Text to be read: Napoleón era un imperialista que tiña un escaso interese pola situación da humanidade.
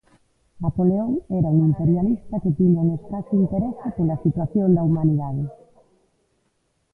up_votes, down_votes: 1, 2